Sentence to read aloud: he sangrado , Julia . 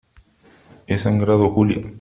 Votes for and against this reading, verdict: 2, 0, accepted